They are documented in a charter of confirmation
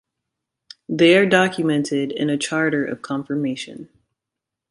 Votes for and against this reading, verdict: 2, 0, accepted